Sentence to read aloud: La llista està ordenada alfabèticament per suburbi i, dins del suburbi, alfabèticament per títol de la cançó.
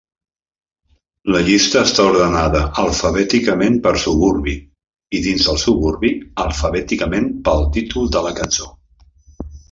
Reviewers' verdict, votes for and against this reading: rejected, 1, 2